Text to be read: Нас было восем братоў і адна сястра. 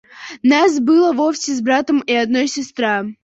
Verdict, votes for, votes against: rejected, 0, 2